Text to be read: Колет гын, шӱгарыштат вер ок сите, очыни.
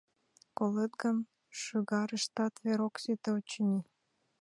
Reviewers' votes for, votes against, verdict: 2, 0, accepted